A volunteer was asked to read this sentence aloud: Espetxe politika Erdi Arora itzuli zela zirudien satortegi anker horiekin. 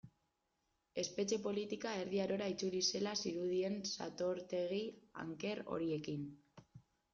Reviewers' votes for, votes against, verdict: 2, 1, accepted